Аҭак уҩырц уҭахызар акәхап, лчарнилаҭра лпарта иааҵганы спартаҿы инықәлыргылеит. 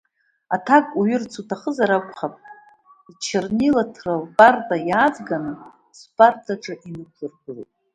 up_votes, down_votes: 2, 0